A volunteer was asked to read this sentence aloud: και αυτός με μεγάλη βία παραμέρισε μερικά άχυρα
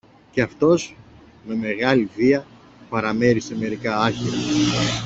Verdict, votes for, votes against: accepted, 2, 1